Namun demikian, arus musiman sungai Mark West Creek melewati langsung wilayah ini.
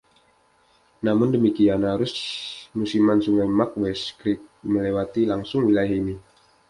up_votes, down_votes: 2, 0